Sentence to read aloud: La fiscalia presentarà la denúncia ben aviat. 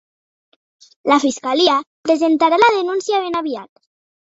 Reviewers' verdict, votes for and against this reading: rejected, 1, 2